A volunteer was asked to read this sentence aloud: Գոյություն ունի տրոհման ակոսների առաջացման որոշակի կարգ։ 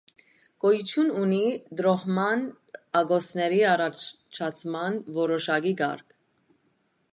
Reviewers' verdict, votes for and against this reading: rejected, 0, 2